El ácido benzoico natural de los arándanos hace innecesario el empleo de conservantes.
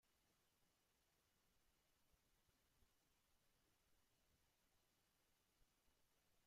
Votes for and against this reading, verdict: 0, 2, rejected